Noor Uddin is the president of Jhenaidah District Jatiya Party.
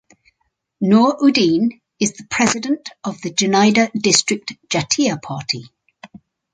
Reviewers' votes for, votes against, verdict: 4, 2, accepted